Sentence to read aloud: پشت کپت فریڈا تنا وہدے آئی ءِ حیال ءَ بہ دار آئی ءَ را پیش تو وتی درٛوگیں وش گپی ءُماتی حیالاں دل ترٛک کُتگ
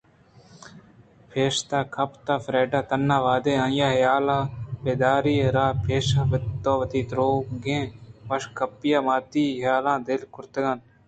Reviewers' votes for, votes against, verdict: 2, 0, accepted